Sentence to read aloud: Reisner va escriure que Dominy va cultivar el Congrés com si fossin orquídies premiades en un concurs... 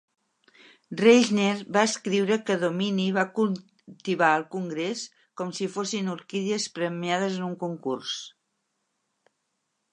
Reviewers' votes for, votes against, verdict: 0, 2, rejected